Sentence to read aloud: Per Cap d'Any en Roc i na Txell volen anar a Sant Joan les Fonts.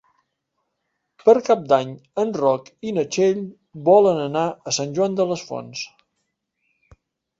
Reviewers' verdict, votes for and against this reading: rejected, 1, 3